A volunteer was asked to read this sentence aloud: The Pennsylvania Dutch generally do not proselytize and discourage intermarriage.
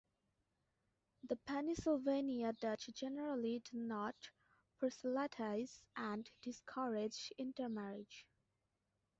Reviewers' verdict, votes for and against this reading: accepted, 2, 0